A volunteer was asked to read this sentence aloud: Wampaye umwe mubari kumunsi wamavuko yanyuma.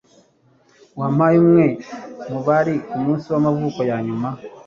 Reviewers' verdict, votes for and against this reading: accepted, 2, 0